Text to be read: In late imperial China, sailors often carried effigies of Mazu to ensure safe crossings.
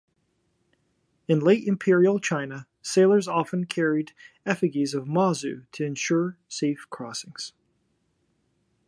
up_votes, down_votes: 0, 2